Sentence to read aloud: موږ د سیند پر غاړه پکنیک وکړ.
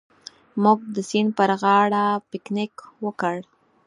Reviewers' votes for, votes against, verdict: 4, 0, accepted